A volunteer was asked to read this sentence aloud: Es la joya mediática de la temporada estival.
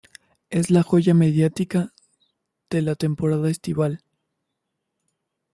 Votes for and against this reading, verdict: 2, 0, accepted